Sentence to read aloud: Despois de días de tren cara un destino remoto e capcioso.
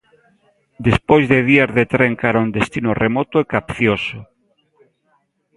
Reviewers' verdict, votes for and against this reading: accepted, 2, 0